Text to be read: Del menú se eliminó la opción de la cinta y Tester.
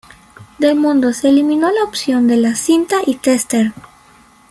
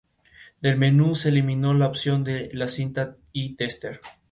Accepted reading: second